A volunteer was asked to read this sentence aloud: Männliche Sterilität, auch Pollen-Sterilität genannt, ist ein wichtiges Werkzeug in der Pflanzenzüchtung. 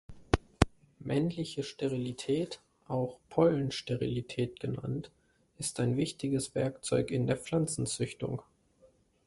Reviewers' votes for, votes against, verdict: 2, 0, accepted